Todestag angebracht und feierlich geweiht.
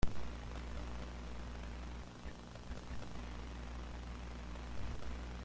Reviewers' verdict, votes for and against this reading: rejected, 0, 2